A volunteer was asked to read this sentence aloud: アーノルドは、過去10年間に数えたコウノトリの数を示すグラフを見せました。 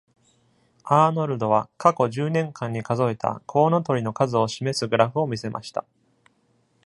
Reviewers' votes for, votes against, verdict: 0, 2, rejected